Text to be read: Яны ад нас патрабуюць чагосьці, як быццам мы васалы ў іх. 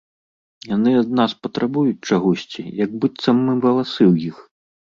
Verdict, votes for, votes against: rejected, 0, 2